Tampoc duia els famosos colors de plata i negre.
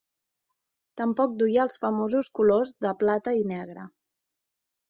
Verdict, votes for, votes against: accepted, 4, 0